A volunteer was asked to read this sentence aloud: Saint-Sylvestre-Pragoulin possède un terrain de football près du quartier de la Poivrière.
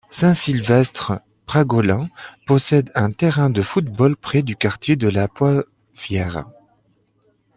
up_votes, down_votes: 0, 2